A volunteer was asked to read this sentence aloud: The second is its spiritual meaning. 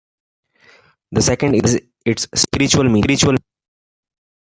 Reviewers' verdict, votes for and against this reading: rejected, 0, 2